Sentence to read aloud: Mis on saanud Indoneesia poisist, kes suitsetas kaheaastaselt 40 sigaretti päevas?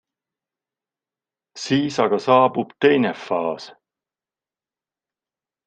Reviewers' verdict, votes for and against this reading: rejected, 0, 2